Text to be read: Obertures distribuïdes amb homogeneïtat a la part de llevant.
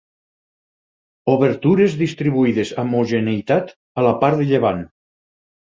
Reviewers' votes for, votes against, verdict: 0, 4, rejected